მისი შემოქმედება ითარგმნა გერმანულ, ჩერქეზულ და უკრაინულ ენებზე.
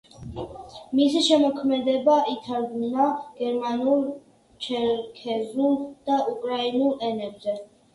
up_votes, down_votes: 1, 2